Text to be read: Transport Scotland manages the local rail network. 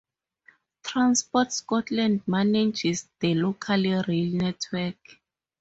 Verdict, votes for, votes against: accepted, 4, 0